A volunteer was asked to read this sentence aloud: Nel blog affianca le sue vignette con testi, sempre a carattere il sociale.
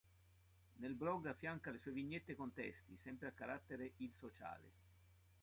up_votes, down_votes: 2, 1